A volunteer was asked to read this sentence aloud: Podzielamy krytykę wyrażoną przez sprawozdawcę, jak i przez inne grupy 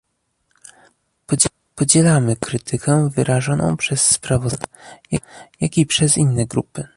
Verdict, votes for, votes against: rejected, 0, 2